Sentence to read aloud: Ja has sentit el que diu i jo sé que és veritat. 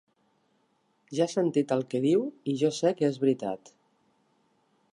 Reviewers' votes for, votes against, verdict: 1, 2, rejected